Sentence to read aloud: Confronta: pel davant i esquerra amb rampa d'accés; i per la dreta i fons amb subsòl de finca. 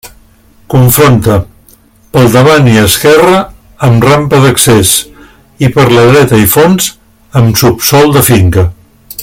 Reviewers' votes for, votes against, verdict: 3, 0, accepted